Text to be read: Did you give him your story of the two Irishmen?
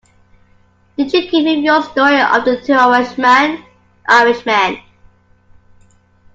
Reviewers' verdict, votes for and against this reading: rejected, 0, 2